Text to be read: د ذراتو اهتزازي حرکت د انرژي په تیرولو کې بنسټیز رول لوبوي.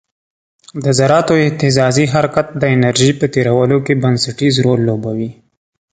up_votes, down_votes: 2, 0